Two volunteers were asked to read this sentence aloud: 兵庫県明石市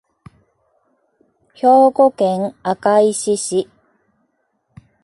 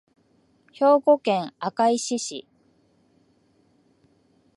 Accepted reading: first